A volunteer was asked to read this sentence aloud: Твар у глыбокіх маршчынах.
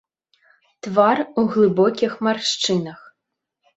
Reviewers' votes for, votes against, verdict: 2, 0, accepted